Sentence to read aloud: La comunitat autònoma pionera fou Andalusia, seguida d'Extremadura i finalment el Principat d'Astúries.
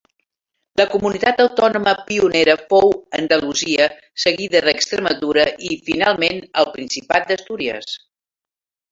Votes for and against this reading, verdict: 2, 1, accepted